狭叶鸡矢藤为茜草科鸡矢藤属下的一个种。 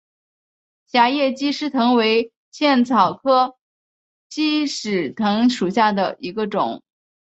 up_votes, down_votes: 2, 1